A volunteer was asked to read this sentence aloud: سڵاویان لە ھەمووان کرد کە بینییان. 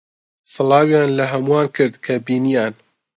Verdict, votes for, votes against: accepted, 2, 0